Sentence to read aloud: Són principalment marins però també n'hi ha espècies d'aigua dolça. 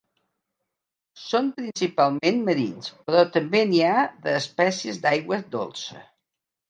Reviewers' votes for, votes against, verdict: 1, 2, rejected